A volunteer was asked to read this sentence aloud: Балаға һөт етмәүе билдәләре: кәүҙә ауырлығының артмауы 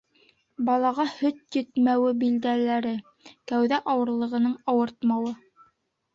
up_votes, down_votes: 0, 2